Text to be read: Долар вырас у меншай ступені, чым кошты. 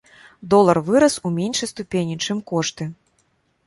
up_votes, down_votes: 2, 0